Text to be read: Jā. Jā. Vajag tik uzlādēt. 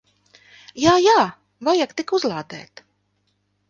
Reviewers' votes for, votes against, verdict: 3, 0, accepted